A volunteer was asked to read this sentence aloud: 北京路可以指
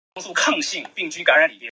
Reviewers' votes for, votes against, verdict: 0, 4, rejected